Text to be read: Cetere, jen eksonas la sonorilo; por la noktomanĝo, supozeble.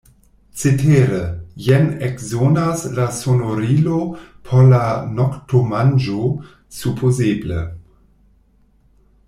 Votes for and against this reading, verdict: 1, 2, rejected